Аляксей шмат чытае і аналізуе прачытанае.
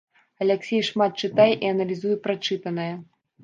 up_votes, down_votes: 1, 2